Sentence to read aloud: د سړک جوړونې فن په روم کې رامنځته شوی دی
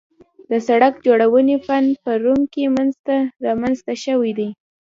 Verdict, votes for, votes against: accepted, 2, 0